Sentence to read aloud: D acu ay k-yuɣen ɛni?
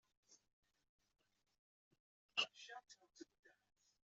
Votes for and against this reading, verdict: 0, 2, rejected